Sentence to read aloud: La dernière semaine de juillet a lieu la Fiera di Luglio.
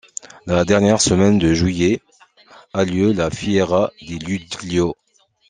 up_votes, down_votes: 1, 2